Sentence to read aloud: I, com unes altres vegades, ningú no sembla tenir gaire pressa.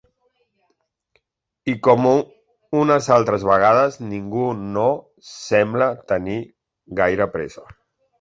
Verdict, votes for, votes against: rejected, 0, 2